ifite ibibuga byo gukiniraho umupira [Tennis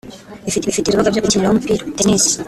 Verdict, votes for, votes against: rejected, 0, 2